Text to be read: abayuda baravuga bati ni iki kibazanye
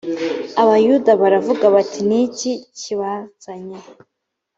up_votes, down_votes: 2, 0